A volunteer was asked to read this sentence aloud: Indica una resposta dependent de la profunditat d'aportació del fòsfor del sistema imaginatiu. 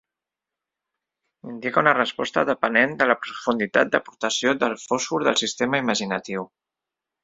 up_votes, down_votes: 1, 3